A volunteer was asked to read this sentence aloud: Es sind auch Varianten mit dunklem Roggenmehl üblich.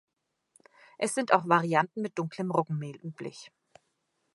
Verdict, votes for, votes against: accepted, 3, 0